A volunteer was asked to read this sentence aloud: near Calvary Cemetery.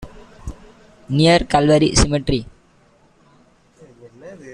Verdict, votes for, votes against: accepted, 2, 0